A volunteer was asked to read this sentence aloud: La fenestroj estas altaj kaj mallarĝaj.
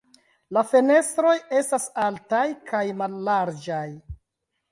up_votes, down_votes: 1, 2